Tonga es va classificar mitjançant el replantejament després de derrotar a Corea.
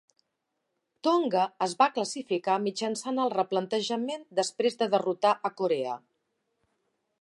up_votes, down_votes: 3, 0